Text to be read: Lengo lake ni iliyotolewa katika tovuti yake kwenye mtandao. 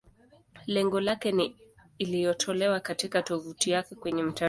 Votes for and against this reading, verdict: 2, 3, rejected